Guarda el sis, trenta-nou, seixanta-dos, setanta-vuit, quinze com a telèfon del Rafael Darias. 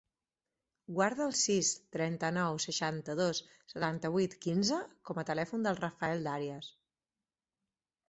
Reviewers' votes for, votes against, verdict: 4, 0, accepted